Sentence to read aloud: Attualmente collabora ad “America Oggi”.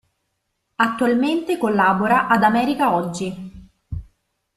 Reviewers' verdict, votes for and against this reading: accepted, 2, 0